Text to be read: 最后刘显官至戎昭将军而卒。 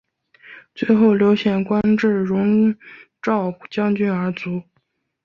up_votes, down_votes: 2, 0